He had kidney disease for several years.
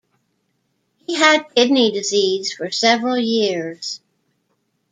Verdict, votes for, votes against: rejected, 1, 2